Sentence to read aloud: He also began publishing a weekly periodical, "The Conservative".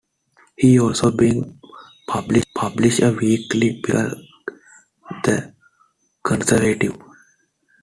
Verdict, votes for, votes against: rejected, 1, 3